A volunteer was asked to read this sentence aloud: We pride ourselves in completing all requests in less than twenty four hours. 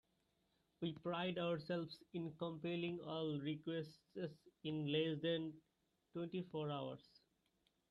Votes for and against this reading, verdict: 1, 2, rejected